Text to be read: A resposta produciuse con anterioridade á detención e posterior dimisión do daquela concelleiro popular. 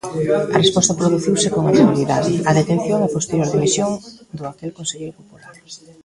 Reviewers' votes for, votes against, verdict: 0, 2, rejected